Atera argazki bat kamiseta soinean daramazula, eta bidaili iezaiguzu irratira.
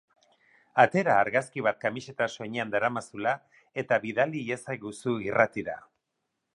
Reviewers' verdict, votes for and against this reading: accepted, 4, 0